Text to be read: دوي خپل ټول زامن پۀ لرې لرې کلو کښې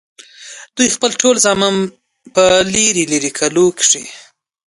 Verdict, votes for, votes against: rejected, 0, 2